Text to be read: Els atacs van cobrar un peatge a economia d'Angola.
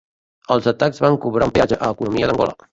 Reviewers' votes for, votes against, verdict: 0, 2, rejected